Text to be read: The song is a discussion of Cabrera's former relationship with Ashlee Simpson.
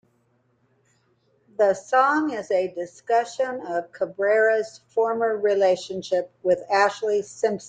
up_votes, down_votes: 2, 1